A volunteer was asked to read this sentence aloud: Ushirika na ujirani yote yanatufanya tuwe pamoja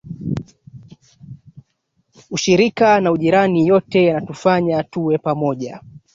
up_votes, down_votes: 1, 2